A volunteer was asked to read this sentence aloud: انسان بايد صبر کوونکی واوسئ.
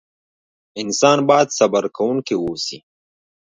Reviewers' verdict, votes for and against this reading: rejected, 1, 2